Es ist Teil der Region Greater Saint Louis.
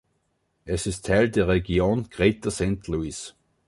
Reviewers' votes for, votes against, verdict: 2, 0, accepted